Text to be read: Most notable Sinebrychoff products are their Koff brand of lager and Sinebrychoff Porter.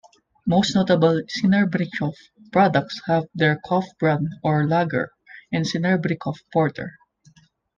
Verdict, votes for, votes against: rejected, 1, 2